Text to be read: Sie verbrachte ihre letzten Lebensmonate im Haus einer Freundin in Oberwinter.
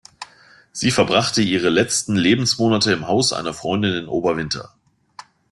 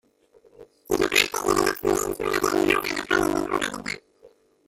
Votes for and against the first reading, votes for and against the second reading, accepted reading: 2, 0, 0, 2, first